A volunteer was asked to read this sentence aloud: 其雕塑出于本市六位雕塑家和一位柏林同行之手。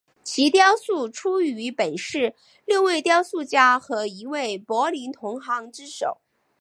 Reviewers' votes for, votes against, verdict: 2, 0, accepted